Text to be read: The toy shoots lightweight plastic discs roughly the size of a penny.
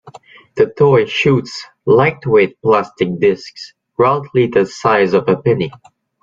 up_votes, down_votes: 2, 0